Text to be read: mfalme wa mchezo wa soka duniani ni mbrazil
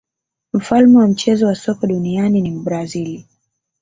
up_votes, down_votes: 0, 2